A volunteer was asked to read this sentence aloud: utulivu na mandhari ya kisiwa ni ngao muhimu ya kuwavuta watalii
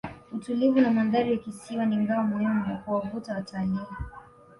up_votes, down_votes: 0, 2